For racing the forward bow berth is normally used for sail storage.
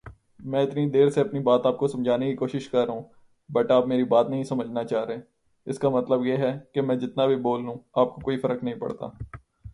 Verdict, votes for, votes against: rejected, 0, 2